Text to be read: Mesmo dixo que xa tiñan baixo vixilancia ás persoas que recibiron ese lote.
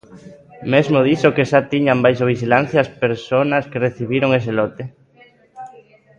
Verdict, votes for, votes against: rejected, 0, 2